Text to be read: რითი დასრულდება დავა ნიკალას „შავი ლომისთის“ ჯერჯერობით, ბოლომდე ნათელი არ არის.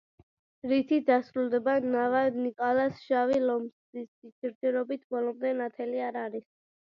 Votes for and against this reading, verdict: 0, 2, rejected